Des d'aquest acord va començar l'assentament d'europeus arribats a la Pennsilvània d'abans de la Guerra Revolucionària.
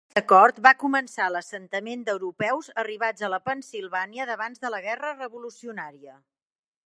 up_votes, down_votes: 1, 2